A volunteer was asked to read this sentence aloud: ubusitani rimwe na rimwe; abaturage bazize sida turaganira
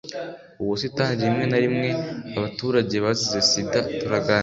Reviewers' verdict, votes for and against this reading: accepted, 2, 0